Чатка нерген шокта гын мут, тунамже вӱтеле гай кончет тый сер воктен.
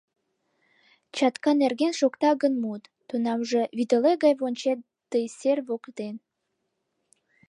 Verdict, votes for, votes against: accepted, 2, 0